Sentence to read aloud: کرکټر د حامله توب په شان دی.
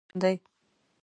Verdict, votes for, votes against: rejected, 0, 2